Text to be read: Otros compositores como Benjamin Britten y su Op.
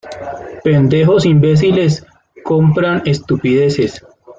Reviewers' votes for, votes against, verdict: 0, 2, rejected